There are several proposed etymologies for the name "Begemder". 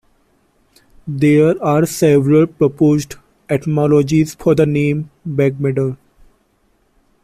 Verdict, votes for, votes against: rejected, 0, 2